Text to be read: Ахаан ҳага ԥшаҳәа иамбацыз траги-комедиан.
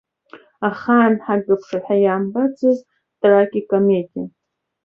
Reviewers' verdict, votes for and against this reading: rejected, 0, 2